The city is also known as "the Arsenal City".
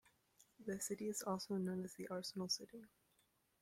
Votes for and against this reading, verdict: 2, 0, accepted